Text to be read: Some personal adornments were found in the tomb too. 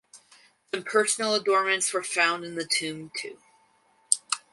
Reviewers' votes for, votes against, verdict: 0, 2, rejected